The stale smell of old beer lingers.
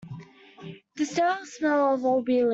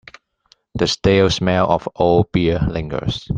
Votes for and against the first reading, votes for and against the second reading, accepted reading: 0, 2, 2, 0, second